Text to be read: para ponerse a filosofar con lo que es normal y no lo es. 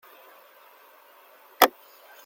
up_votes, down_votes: 0, 2